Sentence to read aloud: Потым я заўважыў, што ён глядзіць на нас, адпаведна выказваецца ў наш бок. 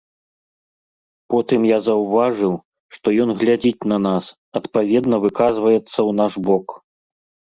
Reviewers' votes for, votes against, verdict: 3, 0, accepted